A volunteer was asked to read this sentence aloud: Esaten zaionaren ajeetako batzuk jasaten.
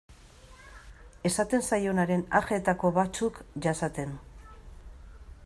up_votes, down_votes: 2, 0